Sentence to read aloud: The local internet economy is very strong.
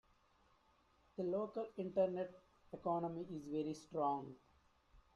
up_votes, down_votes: 1, 2